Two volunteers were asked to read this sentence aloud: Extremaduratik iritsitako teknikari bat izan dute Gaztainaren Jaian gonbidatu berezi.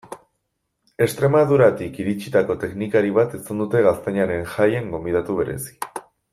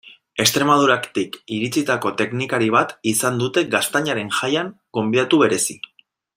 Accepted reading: first